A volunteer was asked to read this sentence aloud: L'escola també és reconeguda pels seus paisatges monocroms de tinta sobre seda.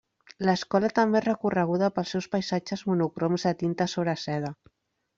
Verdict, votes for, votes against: rejected, 1, 2